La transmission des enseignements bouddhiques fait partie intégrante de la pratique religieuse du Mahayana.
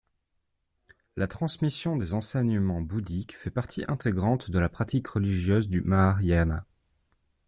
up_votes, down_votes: 2, 0